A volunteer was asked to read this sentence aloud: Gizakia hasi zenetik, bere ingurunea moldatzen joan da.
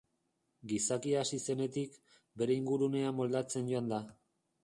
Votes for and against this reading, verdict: 2, 2, rejected